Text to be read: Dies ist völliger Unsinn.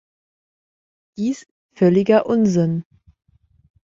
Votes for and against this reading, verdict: 0, 2, rejected